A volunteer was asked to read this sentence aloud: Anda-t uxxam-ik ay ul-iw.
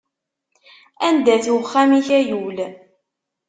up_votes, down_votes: 1, 2